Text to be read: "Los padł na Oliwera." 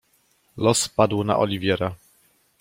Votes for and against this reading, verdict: 1, 2, rejected